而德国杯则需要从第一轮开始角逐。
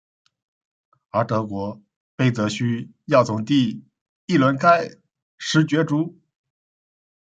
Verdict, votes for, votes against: rejected, 0, 2